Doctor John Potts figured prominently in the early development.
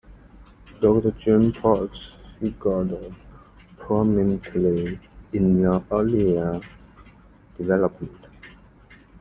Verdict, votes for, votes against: rejected, 1, 2